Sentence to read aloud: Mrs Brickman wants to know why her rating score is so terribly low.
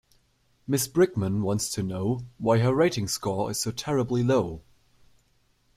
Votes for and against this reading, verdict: 1, 2, rejected